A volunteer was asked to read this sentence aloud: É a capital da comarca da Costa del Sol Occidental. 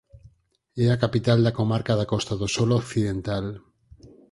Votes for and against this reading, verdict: 2, 4, rejected